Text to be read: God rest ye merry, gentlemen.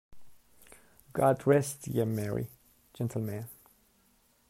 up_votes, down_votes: 0, 2